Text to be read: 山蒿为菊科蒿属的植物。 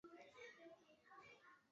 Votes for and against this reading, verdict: 1, 4, rejected